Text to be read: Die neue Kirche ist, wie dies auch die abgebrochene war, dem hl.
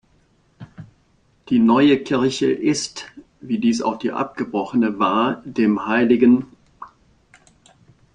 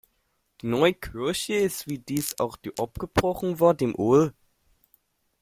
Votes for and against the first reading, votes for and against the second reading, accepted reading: 3, 0, 0, 2, first